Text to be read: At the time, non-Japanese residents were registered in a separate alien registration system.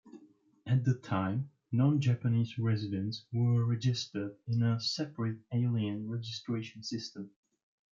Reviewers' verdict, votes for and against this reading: accepted, 3, 1